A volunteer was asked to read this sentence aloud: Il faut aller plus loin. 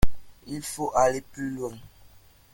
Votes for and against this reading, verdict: 2, 0, accepted